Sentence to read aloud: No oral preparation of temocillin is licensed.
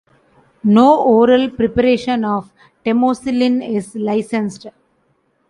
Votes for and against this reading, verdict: 2, 0, accepted